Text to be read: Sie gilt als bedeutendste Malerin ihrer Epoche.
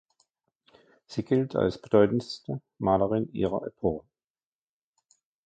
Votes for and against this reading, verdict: 0, 2, rejected